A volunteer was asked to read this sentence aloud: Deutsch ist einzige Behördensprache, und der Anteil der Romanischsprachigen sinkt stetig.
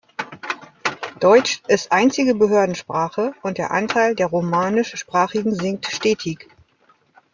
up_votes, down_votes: 1, 2